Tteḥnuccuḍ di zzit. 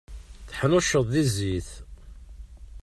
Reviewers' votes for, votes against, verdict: 0, 2, rejected